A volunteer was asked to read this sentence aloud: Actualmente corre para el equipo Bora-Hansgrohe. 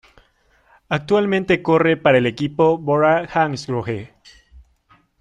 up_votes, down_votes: 1, 2